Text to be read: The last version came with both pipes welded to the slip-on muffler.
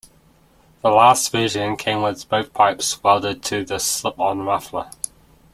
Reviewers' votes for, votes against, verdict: 0, 3, rejected